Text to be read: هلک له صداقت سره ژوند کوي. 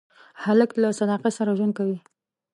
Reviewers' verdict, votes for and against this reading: accepted, 2, 0